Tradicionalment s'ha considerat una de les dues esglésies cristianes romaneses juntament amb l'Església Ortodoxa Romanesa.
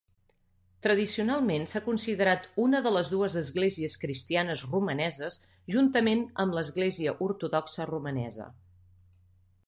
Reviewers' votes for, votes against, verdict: 2, 0, accepted